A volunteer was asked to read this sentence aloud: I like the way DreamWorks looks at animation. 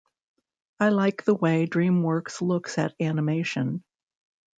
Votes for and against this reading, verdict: 2, 0, accepted